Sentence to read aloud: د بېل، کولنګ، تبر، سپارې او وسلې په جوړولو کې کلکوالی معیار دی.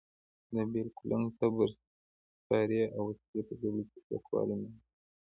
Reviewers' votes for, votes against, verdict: 0, 2, rejected